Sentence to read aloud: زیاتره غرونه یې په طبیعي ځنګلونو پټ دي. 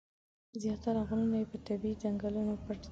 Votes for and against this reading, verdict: 0, 2, rejected